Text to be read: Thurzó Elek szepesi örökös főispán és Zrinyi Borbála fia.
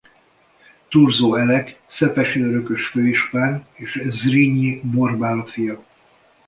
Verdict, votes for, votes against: accepted, 2, 0